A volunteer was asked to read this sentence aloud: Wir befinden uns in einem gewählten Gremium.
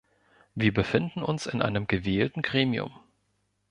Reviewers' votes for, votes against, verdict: 2, 0, accepted